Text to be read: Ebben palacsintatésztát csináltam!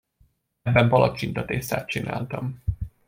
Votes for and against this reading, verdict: 2, 0, accepted